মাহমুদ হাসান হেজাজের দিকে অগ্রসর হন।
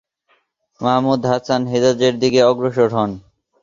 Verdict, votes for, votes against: accepted, 24, 0